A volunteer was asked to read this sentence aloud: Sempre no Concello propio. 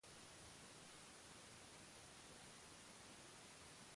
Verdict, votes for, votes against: rejected, 0, 2